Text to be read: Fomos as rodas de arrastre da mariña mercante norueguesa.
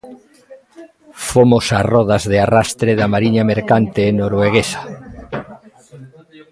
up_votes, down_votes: 1, 2